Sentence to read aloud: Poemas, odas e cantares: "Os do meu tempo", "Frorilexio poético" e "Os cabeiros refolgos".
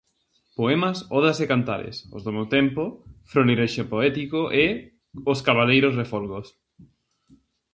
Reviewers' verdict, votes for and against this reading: rejected, 0, 2